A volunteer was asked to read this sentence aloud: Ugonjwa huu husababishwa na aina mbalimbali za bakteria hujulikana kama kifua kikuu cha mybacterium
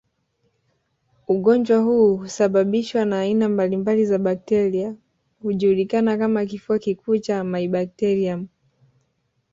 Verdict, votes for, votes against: rejected, 1, 2